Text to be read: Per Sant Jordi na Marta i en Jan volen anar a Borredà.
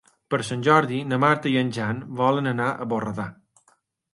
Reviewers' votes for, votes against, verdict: 2, 0, accepted